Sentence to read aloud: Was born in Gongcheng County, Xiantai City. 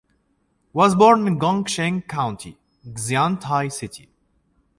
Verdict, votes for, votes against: accepted, 2, 0